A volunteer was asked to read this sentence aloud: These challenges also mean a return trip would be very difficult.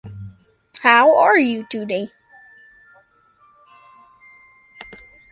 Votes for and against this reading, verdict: 0, 2, rejected